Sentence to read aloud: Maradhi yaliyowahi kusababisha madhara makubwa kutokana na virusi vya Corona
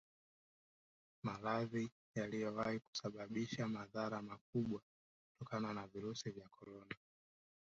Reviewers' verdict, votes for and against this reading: rejected, 1, 2